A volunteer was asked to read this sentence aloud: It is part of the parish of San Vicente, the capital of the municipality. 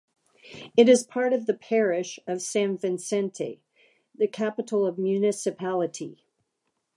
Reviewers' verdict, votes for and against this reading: rejected, 0, 2